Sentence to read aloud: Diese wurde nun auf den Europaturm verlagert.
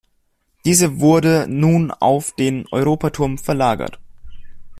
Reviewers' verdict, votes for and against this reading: rejected, 1, 2